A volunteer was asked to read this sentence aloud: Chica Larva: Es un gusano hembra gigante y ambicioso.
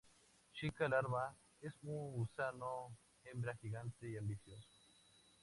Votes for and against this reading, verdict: 2, 0, accepted